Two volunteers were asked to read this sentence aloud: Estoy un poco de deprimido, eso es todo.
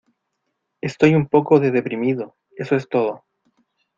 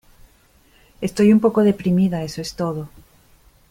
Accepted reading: first